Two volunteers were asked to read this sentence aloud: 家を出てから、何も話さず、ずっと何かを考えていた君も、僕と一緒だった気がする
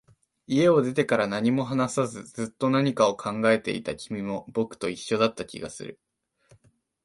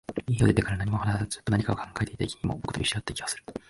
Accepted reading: first